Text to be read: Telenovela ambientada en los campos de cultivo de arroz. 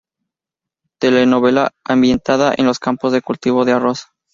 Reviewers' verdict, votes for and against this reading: accepted, 2, 0